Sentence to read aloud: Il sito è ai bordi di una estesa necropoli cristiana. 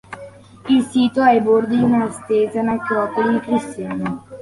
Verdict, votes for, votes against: accepted, 2, 1